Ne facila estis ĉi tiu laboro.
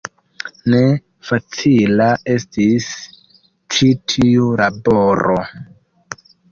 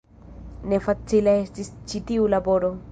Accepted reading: second